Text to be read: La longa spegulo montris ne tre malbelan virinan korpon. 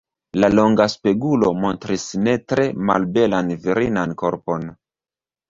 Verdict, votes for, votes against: rejected, 0, 2